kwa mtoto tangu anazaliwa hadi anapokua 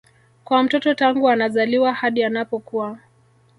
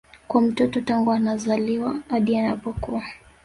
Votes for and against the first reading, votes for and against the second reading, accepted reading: 1, 2, 2, 0, second